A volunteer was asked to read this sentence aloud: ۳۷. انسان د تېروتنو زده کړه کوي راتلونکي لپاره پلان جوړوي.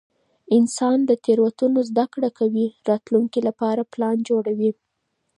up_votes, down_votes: 0, 2